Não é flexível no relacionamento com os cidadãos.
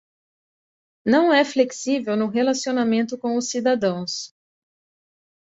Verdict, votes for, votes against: accepted, 2, 0